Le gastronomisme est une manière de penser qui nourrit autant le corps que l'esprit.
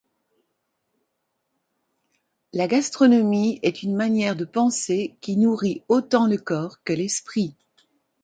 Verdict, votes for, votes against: rejected, 1, 2